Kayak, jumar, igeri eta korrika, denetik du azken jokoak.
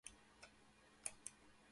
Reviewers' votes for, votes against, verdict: 0, 4, rejected